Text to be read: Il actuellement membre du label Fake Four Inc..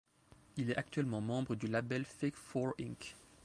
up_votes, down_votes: 1, 2